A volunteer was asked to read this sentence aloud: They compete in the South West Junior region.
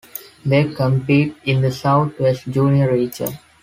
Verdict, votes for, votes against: accepted, 2, 1